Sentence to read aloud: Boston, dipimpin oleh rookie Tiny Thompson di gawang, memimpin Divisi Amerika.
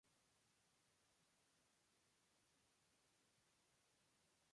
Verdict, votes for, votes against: rejected, 0, 2